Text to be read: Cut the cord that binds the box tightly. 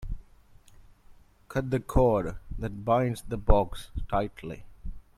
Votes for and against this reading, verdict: 2, 0, accepted